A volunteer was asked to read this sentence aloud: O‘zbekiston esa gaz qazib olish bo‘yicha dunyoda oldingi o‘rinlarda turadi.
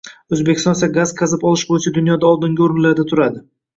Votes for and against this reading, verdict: 1, 2, rejected